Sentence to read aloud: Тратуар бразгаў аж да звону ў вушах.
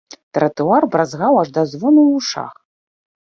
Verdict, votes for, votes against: rejected, 0, 2